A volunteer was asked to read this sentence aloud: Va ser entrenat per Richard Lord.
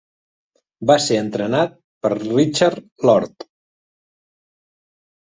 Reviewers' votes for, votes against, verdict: 3, 0, accepted